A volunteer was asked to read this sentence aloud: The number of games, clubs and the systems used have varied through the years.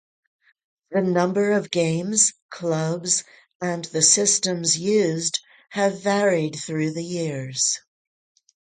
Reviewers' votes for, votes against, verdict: 6, 0, accepted